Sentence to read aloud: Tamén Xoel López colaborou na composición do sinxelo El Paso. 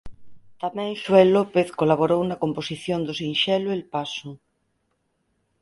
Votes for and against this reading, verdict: 4, 0, accepted